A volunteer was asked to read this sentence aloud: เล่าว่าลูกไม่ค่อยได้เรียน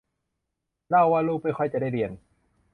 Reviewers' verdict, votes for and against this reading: rejected, 0, 2